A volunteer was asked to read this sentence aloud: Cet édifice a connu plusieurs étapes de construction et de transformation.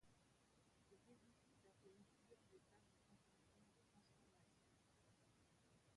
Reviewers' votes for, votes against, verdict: 0, 2, rejected